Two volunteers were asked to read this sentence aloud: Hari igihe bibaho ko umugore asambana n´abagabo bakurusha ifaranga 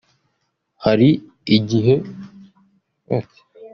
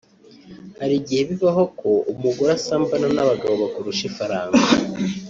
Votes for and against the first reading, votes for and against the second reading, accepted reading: 0, 2, 2, 0, second